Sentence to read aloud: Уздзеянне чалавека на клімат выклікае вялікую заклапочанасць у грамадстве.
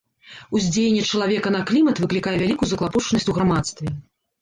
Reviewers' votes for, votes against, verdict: 1, 2, rejected